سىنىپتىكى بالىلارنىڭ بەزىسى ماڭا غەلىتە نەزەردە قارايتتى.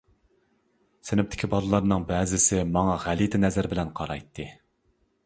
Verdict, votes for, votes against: rejected, 0, 2